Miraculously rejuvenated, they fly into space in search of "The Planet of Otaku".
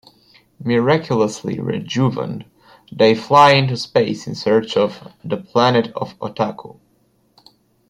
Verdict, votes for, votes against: rejected, 1, 2